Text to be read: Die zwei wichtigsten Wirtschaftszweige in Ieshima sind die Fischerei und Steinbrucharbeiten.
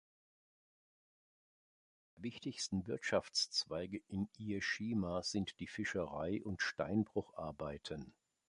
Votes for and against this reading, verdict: 1, 2, rejected